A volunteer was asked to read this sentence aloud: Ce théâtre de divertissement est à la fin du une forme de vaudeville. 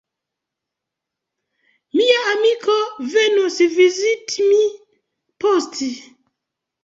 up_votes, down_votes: 0, 2